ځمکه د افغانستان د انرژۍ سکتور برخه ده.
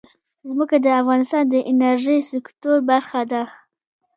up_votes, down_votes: 2, 0